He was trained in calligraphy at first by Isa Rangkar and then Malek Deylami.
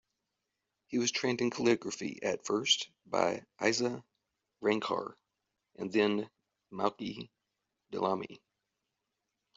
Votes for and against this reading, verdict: 2, 1, accepted